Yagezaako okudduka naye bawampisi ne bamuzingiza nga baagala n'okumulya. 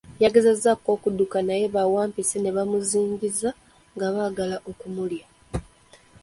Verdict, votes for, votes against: accepted, 2, 0